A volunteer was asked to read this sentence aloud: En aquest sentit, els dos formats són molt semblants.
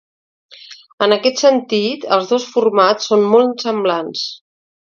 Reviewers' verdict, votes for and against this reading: accepted, 2, 0